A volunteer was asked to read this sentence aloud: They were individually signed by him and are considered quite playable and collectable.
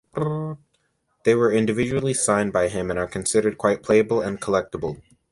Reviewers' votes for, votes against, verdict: 2, 0, accepted